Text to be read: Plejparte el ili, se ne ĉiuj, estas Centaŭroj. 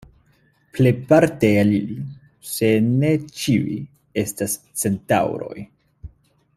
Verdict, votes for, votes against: rejected, 1, 2